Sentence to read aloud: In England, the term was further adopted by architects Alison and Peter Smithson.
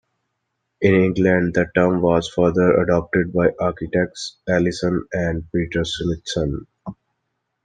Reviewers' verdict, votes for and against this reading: accepted, 2, 0